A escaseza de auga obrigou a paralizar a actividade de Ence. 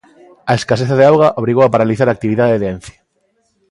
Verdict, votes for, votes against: accepted, 2, 0